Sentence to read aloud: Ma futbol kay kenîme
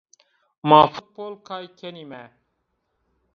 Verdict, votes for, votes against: accepted, 2, 1